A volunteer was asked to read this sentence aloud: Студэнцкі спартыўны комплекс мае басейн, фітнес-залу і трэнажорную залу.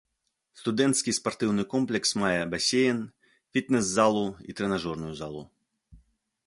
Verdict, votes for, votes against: accepted, 2, 0